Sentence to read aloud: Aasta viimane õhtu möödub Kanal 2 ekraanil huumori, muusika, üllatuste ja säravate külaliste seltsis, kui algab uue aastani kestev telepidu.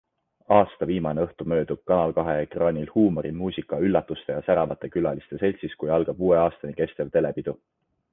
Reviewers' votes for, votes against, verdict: 0, 2, rejected